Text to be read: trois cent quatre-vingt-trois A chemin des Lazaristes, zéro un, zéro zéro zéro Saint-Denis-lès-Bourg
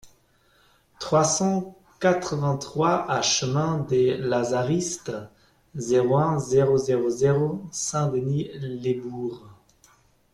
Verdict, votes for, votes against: rejected, 1, 2